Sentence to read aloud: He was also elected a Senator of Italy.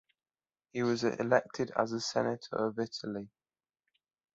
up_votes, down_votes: 0, 2